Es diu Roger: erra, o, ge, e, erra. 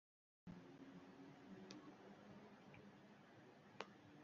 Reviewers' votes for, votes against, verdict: 0, 2, rejected